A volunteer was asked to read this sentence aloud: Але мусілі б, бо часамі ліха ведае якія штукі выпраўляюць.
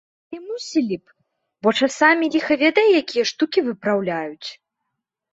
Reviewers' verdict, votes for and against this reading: rejected, 1, 2